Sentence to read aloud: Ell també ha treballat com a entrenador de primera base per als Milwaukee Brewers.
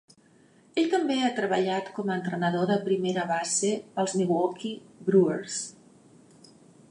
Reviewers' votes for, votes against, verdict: 0, 2, rejected